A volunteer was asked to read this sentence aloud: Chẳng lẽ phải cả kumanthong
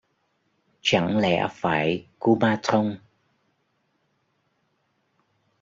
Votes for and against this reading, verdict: 0, 2, rejected